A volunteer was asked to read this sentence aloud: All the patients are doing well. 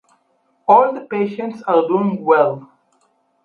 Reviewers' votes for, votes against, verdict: 4, 0, accepted